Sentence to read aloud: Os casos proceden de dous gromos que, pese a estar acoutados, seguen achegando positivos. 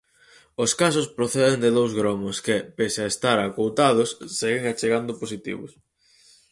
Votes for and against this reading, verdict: 4, 0, accepted